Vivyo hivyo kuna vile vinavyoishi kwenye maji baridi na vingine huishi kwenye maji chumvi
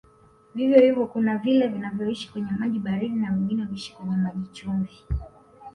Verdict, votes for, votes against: rejected, 1, 2